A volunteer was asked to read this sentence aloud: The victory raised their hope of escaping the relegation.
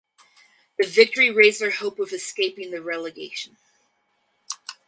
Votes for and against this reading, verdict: 4, 0, accepted